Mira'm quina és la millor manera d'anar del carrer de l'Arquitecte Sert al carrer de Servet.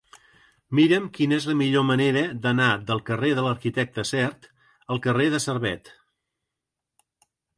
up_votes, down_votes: 2, 0